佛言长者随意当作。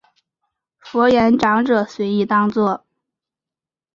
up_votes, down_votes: 4, 0